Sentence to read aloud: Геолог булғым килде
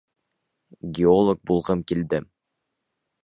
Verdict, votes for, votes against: accepted, 2, 0